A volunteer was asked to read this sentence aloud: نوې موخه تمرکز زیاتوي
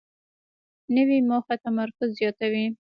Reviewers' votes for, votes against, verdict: 2, 1, accepted